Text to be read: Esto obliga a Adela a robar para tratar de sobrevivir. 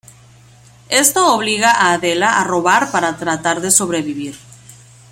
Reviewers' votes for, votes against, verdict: 2, 0, accepted